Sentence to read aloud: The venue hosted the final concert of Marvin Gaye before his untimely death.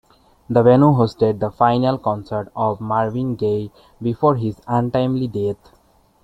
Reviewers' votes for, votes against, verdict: 1, 2, rejected